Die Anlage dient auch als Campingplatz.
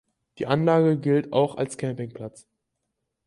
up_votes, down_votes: 0, 4